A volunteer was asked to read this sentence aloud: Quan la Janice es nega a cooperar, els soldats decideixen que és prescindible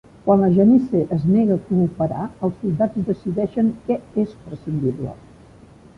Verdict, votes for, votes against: rejected, 1, 2